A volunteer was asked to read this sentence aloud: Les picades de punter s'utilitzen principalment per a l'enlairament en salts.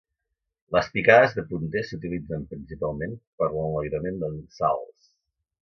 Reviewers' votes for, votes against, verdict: 2, 0, accepted